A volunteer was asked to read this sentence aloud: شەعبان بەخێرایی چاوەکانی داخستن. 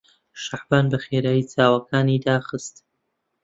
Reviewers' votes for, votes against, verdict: 2, 1, accepted